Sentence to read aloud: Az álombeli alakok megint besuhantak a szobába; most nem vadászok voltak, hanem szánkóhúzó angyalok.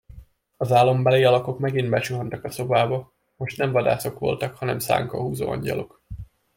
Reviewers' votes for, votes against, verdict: 2, 0, accepted